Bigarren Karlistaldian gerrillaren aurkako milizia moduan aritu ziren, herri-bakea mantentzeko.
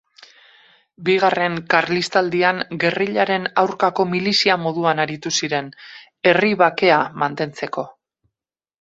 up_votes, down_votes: 2, 2